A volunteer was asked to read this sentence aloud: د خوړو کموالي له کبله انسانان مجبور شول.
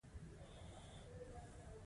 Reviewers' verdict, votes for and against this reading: rejected, 0, 2